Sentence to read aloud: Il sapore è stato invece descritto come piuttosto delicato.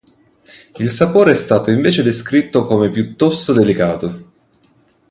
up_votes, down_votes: 2, 0